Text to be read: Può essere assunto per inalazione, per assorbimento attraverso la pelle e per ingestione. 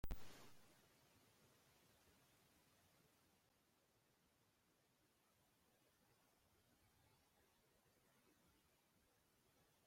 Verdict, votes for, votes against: rejected, 0, 2